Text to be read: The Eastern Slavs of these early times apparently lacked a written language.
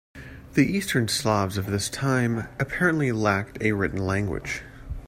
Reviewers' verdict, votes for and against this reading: rejected, 0, 2